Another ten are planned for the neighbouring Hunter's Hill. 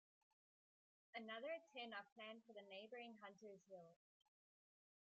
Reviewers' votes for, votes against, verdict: 0, 2, rejected